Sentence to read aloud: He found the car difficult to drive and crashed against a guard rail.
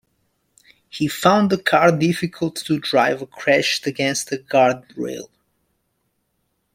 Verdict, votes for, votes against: rejected, 0, 2